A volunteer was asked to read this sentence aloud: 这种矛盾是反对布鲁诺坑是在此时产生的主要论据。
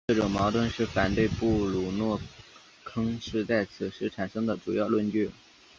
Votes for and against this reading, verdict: 2, 0, accepted